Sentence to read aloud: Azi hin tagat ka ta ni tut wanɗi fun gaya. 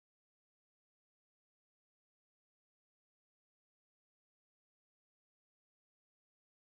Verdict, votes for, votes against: rejected, 0, 2